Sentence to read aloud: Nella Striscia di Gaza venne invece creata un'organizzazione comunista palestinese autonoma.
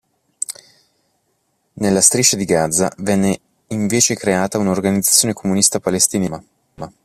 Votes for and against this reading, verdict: 0, 2, rejected